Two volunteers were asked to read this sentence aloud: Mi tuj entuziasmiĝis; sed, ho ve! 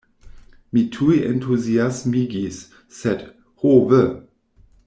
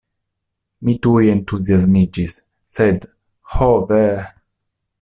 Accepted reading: second